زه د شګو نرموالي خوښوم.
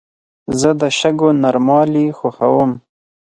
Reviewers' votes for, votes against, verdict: 4, 0, accepted